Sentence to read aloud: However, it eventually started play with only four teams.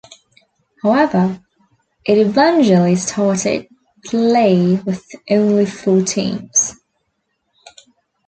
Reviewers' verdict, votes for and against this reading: accepted, 2, 0